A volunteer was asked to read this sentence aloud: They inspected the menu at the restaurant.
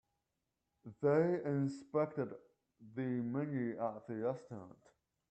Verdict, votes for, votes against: rejected, 0, 2